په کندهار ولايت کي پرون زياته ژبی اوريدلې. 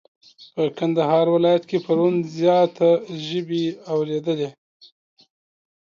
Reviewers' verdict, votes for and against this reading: accepted, 2, 0